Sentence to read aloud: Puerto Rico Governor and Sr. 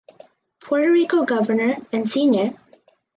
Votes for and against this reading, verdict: 2, 0, accepted